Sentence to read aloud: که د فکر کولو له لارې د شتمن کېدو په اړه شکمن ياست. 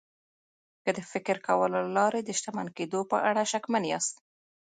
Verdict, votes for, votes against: rejected, 1, 2